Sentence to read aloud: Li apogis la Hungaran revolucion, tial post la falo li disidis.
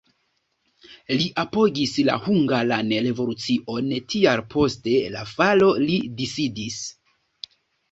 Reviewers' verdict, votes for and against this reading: rejected, 0, 2